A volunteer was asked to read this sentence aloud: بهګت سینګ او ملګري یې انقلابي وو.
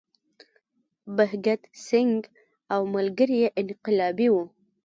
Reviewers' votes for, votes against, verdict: 1, 2, rejected